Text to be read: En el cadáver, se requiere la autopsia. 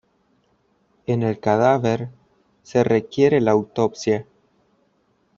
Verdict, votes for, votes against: accepted, 2, 0